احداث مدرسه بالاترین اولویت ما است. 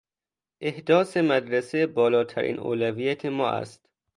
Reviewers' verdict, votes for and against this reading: accepted, 2, 0